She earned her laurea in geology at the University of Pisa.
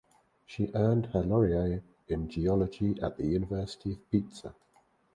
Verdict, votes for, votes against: rejected, 2, 2